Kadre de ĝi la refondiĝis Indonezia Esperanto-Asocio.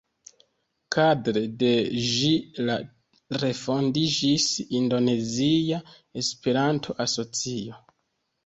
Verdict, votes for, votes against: accepted, 2, 1